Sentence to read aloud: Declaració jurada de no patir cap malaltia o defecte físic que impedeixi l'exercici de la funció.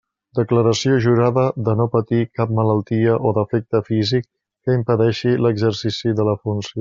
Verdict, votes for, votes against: rejected, 1, 2